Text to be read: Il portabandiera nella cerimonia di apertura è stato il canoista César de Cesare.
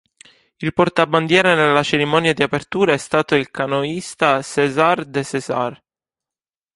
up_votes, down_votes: 0, 2